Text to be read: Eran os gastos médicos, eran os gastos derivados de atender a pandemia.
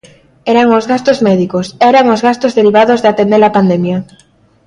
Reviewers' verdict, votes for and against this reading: accepted, 2, 0